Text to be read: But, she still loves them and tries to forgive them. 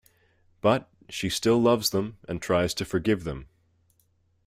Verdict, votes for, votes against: accepted, 2, 0